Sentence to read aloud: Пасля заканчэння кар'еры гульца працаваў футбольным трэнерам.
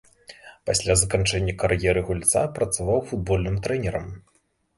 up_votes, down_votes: 2, 0